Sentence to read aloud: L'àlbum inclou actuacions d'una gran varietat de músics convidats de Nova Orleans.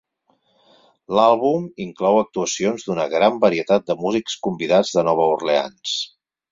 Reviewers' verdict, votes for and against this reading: accepted, 4, 0